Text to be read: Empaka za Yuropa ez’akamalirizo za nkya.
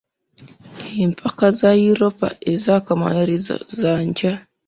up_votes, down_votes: 2, 0